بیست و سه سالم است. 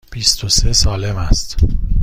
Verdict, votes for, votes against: rejected, 1, 2